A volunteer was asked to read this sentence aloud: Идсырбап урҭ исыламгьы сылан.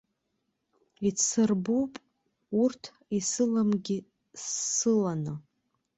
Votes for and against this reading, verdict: 0, 2, rejected